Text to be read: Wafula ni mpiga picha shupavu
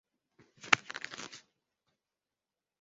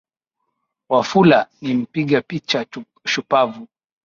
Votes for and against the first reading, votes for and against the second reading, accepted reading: 0, 2, 9, 3, second